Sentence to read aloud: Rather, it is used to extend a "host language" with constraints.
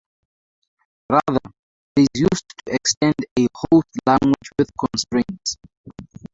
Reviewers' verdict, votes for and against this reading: rejected, 0, 6